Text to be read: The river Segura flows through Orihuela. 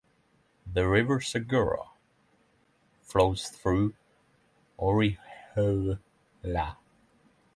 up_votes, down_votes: 0, 3